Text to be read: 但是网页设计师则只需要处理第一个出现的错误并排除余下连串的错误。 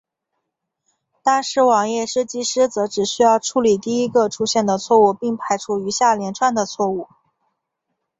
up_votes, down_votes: 3, 1